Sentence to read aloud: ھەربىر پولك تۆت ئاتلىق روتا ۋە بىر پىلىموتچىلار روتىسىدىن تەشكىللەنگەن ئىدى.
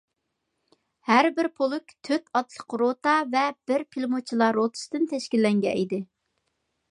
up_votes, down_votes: 2, 0